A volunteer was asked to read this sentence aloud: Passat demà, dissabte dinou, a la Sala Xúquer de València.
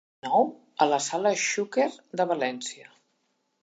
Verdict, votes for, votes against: rejected, 0, 2